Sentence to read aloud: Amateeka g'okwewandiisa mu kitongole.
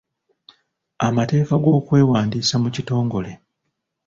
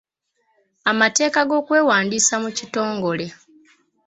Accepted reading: second